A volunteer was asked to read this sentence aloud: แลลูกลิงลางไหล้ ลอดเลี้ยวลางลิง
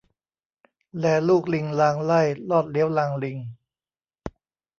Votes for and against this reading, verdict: 2, 0, accepted